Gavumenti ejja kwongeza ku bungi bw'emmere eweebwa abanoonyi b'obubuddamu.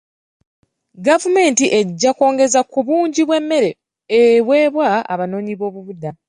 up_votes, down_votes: 2, 0